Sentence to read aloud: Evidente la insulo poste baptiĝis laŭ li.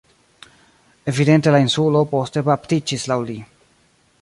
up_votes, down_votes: 2, 0